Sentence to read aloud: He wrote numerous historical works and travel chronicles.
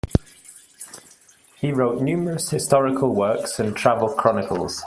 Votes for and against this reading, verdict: 2, 0, accepted